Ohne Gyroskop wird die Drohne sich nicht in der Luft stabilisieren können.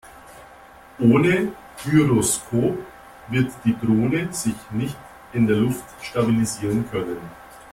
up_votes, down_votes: 2, 0